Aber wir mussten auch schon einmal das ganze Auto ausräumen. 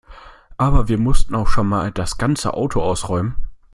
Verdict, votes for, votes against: rejected, 0, 2